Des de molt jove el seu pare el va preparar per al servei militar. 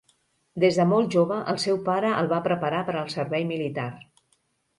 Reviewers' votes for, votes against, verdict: 2, 0, accepted